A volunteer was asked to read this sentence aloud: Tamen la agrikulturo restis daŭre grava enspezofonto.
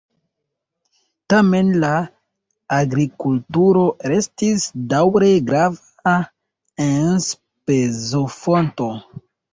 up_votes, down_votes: 0, 2